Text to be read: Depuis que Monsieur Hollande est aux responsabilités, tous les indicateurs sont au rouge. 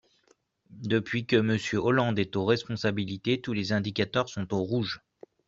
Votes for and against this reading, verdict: 2, 0, accepted